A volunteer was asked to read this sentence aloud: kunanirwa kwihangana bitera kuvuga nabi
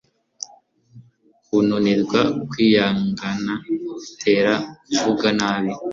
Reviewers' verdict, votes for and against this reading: accepted, 2, 0